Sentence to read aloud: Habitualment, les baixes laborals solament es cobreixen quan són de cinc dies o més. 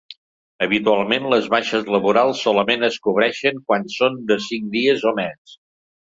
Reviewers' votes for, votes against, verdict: 3, 0, accepted